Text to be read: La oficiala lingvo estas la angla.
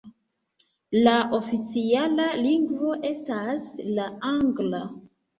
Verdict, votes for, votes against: rejected, 1, 2